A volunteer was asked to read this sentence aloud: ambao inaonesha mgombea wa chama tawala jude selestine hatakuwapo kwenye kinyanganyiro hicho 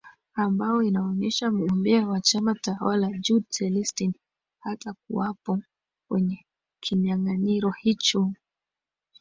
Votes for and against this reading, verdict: 1, 2, rejected